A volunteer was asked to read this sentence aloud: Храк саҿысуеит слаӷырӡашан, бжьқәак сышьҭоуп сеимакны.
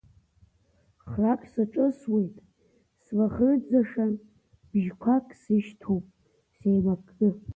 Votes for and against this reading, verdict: 0, 2, rejected